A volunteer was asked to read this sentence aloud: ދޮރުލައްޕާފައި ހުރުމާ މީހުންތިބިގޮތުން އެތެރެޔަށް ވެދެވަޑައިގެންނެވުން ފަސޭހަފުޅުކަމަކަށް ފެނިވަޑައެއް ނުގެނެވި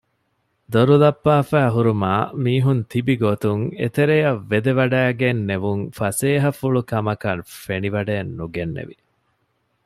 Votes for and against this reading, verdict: 2, 0, accepted